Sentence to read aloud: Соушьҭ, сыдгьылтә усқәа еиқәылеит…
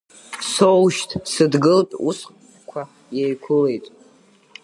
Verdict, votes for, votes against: rejected, 1, 2